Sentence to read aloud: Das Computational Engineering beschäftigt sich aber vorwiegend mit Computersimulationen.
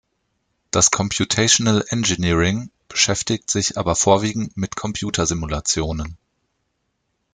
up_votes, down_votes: 2, 0